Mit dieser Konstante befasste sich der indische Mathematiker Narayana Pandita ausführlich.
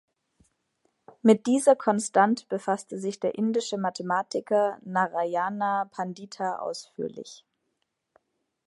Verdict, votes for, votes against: rejected, 1, 2